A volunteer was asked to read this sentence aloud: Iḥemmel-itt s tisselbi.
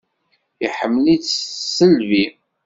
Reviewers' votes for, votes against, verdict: 0, 2, rejected